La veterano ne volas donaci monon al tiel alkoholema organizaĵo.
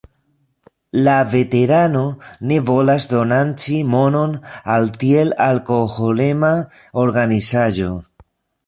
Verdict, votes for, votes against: rejected, 0, 2